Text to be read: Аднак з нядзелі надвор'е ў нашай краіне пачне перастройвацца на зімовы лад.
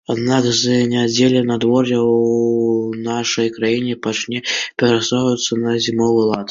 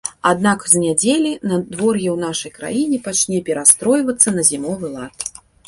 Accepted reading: second